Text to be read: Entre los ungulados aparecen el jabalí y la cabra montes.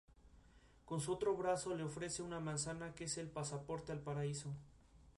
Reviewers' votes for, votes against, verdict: 0, 4, rejected